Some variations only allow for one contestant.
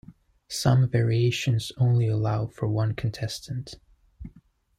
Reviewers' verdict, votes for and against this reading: accepted, 2, 0